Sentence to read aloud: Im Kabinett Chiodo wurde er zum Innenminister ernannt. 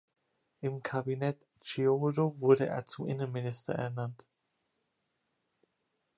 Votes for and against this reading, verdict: 1, 3, rejected